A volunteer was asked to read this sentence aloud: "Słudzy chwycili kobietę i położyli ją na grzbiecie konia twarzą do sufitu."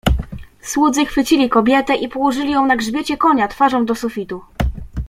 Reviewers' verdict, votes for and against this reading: rejected, 0, 2